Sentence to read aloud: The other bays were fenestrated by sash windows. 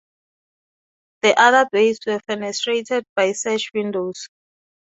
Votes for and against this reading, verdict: 4, 0, accepted